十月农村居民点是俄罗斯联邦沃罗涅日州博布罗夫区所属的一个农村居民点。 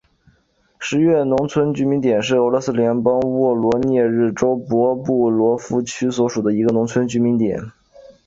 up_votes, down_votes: 3, 0